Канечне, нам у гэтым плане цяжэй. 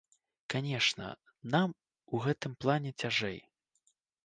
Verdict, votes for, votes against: rejected, 0, 2